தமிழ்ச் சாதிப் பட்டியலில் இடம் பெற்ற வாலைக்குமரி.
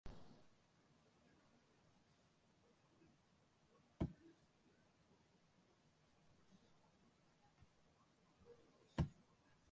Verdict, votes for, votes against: rejected, 0, 2